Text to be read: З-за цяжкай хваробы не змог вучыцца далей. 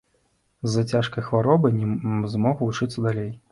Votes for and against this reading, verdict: 1, 2, rejected